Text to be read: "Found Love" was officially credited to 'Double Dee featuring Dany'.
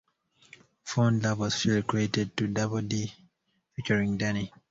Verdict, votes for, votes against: rejected, 1, 2